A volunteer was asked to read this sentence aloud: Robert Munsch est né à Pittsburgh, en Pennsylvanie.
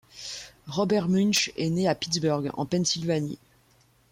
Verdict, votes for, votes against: accepted, 2, 0